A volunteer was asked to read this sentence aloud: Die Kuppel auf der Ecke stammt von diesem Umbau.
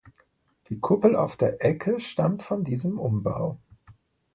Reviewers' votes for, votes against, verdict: 2, 0, accepted